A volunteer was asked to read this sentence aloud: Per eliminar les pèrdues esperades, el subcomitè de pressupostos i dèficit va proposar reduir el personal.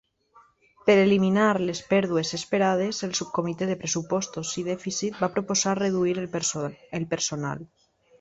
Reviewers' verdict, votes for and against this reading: rejected, 0, 2